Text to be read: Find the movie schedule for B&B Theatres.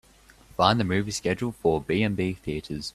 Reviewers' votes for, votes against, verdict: 3, 0, accepted